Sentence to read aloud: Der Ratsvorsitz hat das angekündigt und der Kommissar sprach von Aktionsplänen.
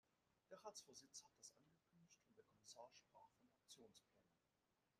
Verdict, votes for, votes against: rejected, 0, 2